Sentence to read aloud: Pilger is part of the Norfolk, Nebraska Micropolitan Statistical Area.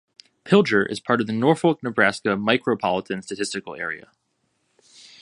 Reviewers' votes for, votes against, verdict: 2, 0, accepted